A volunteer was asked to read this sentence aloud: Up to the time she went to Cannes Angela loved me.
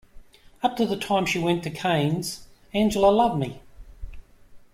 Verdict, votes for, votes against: rejected, 1, 2